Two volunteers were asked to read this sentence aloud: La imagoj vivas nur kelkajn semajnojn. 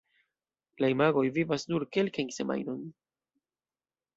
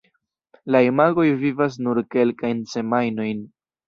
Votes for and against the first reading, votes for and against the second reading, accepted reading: 2, 0, 1, 2, first